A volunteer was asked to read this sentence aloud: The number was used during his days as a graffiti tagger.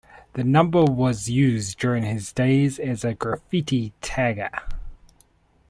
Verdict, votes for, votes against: accepted, 2, 0